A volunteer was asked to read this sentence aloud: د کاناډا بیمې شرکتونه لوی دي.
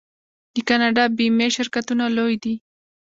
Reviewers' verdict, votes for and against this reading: rejected, 1, 2